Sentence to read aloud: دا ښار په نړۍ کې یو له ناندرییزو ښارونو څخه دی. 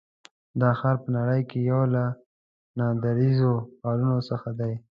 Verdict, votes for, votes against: accepted, 2, 0